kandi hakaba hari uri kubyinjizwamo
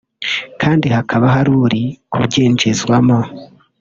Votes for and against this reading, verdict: 2, 0, accepted